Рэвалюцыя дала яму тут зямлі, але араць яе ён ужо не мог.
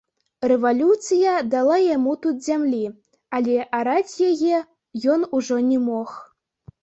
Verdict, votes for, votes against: accepted, 2, 0